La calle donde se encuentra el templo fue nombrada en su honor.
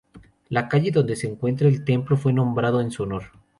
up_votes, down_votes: 2, 2